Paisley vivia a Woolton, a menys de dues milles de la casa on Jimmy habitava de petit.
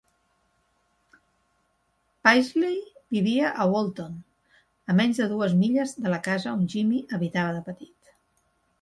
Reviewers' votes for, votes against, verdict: 2, 0, accepted